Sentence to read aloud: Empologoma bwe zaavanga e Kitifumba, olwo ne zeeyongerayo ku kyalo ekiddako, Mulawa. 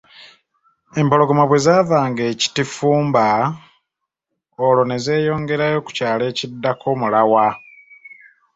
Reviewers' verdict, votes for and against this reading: accepted, 2, 0